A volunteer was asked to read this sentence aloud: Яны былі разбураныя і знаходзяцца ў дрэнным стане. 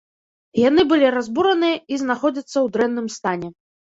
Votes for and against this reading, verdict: 2, 0, accepted